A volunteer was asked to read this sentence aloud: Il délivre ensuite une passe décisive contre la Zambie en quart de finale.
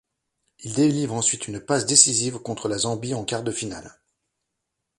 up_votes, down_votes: 2, 0